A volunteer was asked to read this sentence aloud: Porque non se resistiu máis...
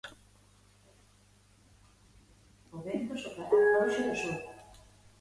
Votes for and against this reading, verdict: 0, 2, rejected